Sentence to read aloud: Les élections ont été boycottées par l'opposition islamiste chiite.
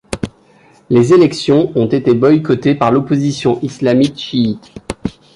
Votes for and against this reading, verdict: 1, 2, rejected